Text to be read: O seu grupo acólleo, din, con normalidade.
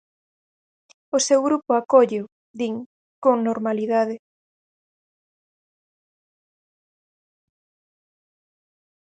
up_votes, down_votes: 4, 0